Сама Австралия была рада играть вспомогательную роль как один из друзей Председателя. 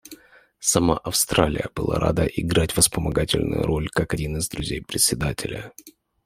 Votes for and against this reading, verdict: 0, 2, rejected